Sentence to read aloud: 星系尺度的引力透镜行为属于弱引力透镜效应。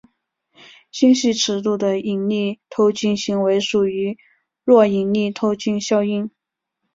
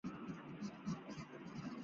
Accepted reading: first